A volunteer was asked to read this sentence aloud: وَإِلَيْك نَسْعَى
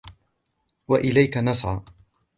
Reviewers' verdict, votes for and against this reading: accepted, 2, 1